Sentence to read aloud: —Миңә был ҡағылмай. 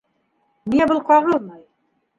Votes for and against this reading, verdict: 1, 2, rejected